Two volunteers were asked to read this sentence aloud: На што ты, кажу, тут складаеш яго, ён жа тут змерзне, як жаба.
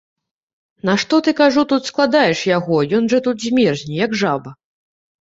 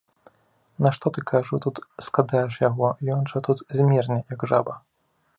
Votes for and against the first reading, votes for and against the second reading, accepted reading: 2, 0, 1, 2, first